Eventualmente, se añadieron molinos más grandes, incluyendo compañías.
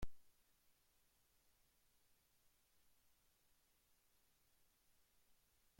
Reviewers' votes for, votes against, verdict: 0, 2, rejected